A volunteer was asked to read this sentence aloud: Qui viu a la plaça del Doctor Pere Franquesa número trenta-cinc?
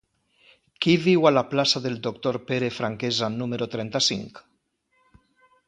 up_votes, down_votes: 2, 0